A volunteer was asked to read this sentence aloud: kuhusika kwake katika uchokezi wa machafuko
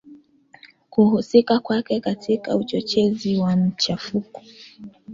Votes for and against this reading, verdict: 1, 2, rejected